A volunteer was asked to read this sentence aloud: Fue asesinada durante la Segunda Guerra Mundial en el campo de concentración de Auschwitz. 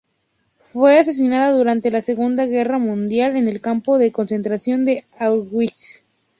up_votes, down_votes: 4, 0